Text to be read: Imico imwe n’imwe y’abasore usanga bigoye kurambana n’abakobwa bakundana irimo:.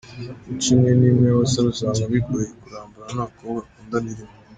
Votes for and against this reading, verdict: 2, 1, accepted